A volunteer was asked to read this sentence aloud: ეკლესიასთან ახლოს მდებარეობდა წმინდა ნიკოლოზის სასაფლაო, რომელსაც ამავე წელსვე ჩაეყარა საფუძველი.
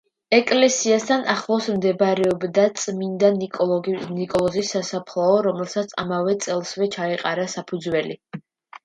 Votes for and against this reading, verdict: 1, 2, rejected